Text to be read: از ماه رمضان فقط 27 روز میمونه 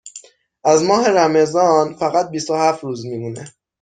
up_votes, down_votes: 0, 2